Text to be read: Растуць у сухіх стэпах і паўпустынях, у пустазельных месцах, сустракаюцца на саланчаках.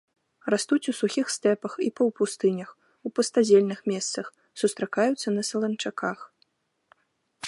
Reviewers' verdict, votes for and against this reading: accepted, 2, 0